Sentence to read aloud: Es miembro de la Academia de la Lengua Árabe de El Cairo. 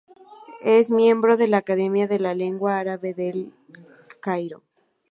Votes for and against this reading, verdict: 2, 0, accepted